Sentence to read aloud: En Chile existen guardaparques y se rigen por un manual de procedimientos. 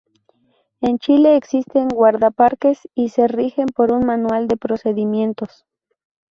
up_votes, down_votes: 2, 0